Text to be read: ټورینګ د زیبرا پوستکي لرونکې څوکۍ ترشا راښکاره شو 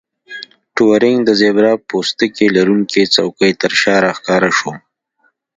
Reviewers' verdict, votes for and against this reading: accepted, 2, 0